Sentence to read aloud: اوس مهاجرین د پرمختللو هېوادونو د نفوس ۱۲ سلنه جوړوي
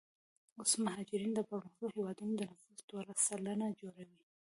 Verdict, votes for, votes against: rejected, 0, 2